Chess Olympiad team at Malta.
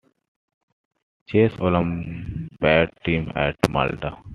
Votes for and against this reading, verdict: 2, 1, accepted